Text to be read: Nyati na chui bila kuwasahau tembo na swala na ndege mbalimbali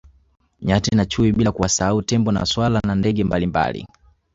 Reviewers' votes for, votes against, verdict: 1, 2, rejected